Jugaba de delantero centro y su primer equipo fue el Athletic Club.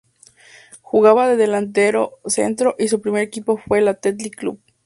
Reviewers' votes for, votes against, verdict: 2, 0, accepted